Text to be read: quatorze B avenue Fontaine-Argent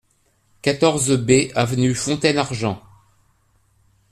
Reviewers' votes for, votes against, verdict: 2, 0, accepted